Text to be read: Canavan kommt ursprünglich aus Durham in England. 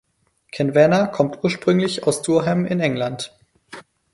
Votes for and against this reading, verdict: 2, 4, rejected